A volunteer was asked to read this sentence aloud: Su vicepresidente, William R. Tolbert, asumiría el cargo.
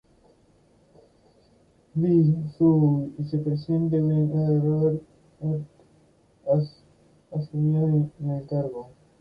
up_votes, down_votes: 0, 2